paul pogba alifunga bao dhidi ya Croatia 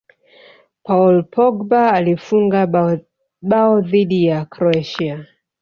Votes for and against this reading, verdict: 3, 0, accepted